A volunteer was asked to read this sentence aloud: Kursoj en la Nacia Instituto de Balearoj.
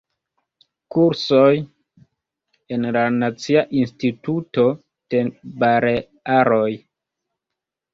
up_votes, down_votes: 2, 1